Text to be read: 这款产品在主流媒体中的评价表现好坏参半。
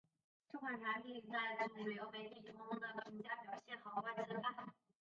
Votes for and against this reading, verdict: 1, 2, rejected